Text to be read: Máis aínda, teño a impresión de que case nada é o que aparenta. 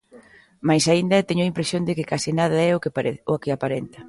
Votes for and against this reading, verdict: 1, 2, rejected